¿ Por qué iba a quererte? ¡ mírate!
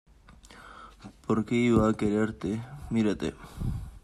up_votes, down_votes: 2, 0